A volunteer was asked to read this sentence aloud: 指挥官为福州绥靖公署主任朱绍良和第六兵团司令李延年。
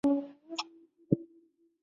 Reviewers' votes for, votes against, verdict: 0, 4, rejected